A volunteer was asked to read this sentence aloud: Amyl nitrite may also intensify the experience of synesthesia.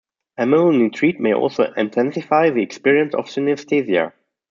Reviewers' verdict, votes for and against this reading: accepted, 2, 1